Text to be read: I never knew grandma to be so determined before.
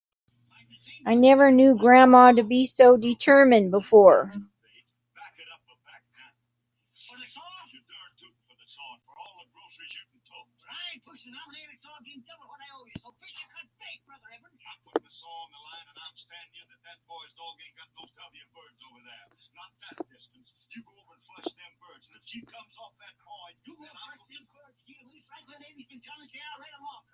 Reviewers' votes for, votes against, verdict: 1, 2, rejected